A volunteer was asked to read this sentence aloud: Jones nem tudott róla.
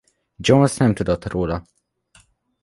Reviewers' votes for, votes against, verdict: 2, 0, accepted